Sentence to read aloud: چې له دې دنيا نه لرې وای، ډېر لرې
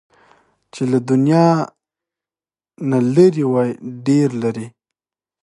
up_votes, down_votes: 2, 1